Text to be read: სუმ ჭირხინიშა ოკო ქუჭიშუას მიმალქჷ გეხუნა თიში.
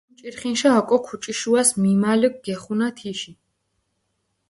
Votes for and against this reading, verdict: 0, 4, rejected